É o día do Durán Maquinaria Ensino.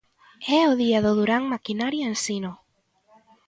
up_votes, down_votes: 2, 0